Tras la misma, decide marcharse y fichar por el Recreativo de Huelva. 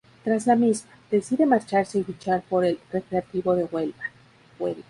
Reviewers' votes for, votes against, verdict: 2, 2, rejected